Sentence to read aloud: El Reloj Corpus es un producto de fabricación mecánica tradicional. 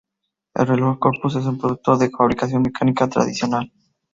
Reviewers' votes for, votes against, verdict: 2, 0, accepted